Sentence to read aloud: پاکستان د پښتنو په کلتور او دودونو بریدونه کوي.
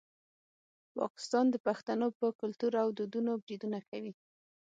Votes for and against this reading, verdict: 6, 0, accepted